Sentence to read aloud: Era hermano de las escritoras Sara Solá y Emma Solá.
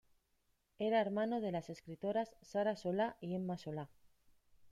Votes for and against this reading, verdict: 2, 0, accepted